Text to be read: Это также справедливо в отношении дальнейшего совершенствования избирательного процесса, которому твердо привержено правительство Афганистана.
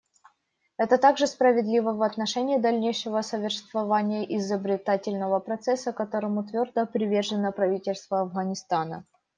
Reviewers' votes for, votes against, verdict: 0, 2, rejected